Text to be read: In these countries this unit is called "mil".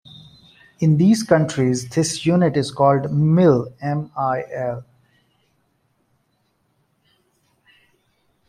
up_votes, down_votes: 0, 2